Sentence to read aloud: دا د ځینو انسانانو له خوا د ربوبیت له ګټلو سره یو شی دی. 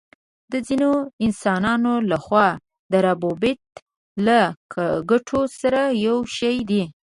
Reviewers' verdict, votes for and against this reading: accepted, 3, 1